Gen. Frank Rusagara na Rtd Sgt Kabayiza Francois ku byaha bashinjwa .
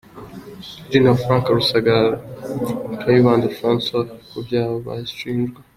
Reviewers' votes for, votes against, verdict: 2, 1, accepted